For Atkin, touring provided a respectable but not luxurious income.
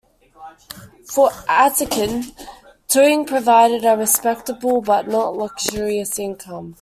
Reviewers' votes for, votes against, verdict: 2, 1, accepted